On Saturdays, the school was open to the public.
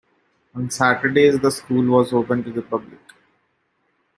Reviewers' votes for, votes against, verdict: 2, 0, accepted